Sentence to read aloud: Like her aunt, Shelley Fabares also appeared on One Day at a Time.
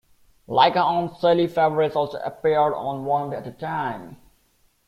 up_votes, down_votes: 2, 0